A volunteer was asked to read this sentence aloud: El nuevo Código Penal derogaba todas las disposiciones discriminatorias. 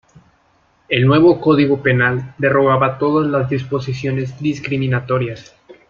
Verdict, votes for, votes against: rejected, 0, 2